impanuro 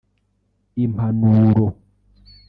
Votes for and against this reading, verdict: 1, 2, rejected